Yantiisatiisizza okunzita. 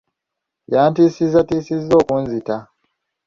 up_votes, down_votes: 2, 0